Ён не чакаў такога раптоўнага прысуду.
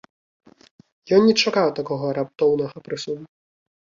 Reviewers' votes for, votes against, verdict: 2, 0, accepted